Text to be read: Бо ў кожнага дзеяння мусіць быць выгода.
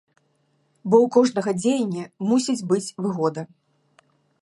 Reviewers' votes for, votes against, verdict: 2, 0, accepted